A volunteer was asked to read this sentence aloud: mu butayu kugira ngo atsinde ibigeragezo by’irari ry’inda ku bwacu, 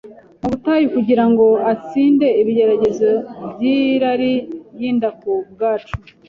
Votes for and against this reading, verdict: 2, 0, accepted